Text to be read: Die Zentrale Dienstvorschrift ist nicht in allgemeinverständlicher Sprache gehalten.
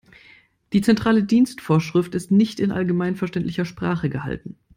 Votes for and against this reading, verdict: 2, 0, accepted